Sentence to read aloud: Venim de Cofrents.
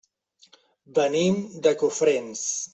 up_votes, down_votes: 3, 0